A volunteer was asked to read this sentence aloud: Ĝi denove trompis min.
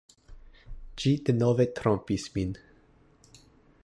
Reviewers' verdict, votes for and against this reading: accepted, 2, 0